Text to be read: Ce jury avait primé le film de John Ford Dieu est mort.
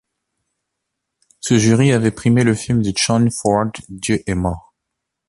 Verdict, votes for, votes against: accepted, 2, 0